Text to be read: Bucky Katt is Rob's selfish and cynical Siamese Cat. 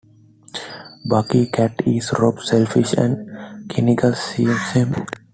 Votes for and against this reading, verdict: 1, 2, rejected